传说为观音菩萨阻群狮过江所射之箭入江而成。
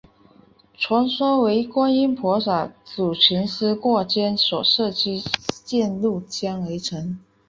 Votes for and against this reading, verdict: 3, 1, accepted